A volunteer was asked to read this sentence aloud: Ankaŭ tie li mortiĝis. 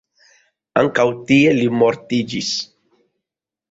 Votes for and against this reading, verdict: 2, 0, accepted